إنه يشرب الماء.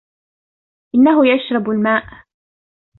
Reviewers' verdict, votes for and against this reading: accepted, 2, 1